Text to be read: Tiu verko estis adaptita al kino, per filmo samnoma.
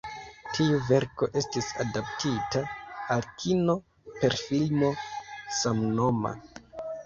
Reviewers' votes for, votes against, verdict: 2, 3, rejected